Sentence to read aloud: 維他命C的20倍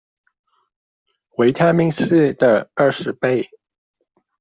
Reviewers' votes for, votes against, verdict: 0, 2, rejected